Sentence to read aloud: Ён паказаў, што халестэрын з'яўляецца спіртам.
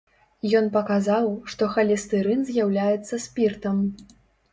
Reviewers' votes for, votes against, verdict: 2, 0, accepted